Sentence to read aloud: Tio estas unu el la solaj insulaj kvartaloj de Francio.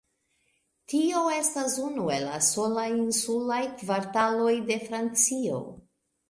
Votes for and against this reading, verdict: 2, 0, accepted